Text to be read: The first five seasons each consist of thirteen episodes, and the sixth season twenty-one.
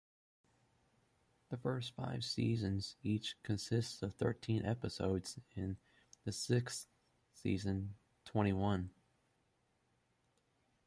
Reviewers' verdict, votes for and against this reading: accepted, 2, 0